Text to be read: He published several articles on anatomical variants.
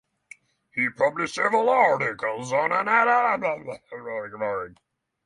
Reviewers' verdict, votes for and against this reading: rejected, 0, 3